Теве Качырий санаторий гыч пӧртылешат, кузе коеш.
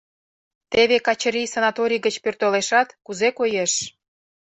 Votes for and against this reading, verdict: 2, 0, accepted